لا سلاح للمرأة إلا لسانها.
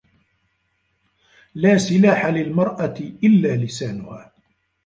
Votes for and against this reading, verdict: 0, 2, rejected